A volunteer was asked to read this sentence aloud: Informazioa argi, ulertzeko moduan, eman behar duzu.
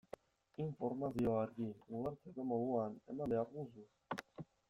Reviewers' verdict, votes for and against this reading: rejected, 0, 2